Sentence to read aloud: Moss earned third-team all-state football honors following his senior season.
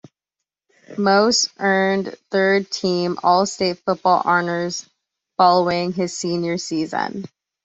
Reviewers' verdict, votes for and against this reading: rejected, 1, 2